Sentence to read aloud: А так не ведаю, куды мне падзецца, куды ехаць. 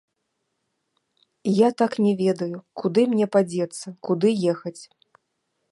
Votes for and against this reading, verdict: 1, 2, rejected